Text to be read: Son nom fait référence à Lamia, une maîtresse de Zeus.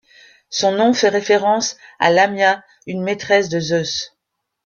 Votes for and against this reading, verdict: 2, 1, accepted